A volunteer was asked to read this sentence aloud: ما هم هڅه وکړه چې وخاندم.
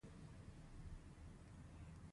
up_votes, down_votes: 2, 0